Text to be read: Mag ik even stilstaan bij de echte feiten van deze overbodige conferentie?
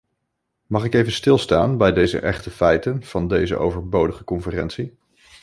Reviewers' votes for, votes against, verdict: 1, 2, rejected